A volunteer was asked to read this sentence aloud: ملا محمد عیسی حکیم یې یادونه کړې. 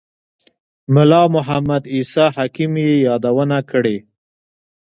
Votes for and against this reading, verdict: 2, 0, accepted